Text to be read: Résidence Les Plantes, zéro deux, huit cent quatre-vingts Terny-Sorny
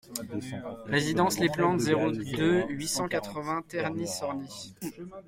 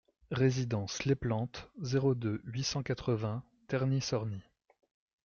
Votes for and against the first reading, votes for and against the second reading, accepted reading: 1, 2, 2, 0, second